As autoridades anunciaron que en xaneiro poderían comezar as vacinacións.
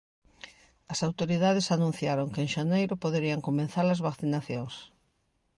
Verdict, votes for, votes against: rejected, 1, 2